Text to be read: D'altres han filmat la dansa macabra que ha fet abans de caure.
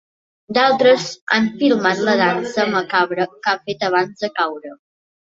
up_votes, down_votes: 2, 0